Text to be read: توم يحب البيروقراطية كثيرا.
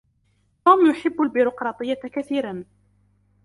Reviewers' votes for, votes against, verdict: 2, 0, accepted